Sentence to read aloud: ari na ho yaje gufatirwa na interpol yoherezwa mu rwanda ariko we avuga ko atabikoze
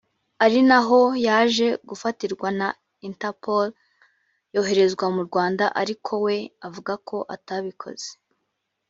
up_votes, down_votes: 2, 0